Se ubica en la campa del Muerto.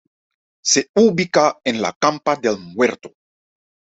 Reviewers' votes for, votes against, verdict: 2, 0, accepted